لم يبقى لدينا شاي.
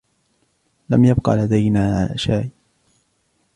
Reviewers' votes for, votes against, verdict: 2, 0, accepted